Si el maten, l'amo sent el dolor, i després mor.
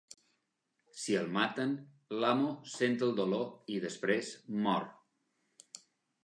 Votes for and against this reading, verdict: 3, 0, accepted